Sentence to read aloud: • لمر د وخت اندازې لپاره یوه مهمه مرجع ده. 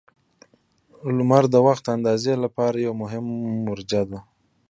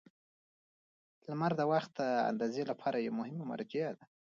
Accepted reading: second